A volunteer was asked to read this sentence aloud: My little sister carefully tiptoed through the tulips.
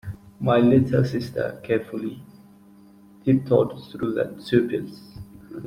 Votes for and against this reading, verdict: 0, 2, rejected